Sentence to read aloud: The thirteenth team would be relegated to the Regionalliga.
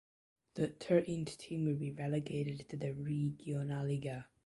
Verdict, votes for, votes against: rejected, 0, 2